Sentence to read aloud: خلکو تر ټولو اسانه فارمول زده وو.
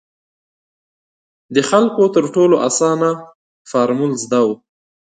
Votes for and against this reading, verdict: 2, 0, accepted